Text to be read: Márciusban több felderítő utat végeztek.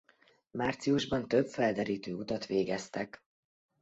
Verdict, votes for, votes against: accepted, 2, 0